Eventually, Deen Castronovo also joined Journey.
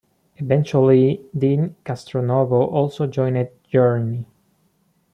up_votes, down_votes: 2, 0